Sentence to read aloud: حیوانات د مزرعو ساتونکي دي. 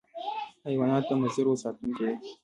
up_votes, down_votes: 0, 2